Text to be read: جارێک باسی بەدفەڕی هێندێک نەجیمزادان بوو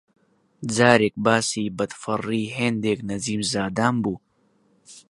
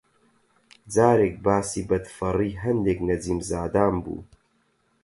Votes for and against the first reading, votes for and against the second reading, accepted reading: 2, 0, 4, 4, first